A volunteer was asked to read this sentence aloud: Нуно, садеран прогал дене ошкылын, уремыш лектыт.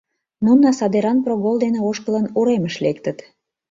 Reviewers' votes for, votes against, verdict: 1, 2, rejected